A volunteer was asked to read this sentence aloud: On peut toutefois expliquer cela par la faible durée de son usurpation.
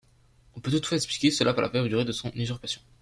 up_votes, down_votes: 0, 2